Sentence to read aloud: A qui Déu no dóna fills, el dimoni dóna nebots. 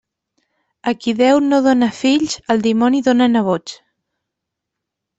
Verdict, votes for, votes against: accepted, 3, 1